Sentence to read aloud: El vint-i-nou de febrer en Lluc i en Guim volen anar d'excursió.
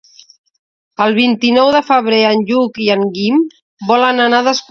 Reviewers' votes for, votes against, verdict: 0, 2, rejected